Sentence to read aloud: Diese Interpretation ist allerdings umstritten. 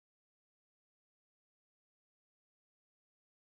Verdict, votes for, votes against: rejected, 0, 2